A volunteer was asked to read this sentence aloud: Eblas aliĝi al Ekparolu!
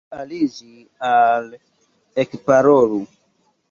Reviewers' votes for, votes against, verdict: 1, 2, rejected